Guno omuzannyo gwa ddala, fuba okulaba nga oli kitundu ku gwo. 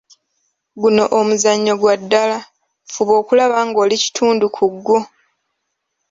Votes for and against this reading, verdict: 2, 1, accepted